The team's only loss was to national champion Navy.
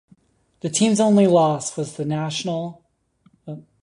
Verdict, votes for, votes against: rejected, 0, 2